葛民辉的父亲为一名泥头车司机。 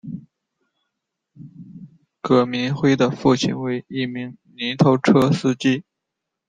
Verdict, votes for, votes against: rejected, 0, 2